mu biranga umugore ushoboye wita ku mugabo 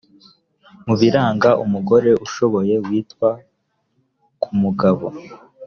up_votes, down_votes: 1, 2